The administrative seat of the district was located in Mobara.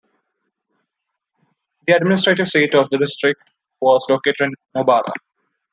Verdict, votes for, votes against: accepted, 2, 1